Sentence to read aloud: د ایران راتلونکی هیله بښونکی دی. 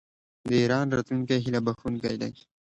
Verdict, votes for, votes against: accepted, 2, 0